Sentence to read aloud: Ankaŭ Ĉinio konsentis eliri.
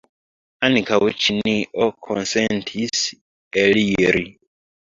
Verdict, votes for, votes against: accepted, 2, 1